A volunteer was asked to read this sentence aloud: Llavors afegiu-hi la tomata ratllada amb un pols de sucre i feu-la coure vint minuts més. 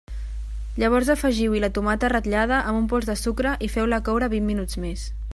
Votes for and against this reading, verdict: 3, 1, accepted